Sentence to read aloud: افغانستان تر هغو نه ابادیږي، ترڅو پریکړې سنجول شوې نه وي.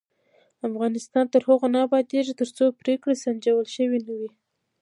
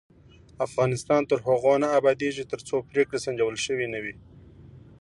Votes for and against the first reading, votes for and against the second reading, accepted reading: 1, 2, 2, 0, second